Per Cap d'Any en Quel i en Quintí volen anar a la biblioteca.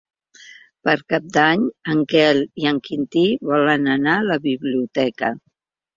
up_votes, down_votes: 2, 0